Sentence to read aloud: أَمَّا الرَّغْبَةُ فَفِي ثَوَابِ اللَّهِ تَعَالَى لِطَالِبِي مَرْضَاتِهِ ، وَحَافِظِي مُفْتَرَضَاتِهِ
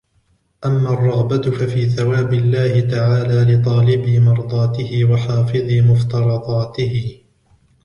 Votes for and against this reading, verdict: 1, 2, rejected